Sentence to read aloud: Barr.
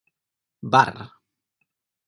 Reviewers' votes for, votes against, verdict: 2, 4, rejected